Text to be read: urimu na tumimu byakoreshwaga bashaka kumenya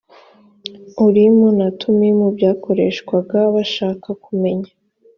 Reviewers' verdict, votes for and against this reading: accepted, 2, 0